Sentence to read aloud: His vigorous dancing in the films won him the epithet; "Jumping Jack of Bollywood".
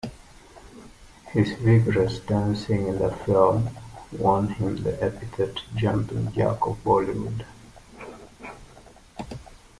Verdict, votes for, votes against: rejected, 0, 2